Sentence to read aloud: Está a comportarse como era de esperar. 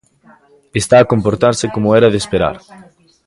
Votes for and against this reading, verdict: 1, 2, rejected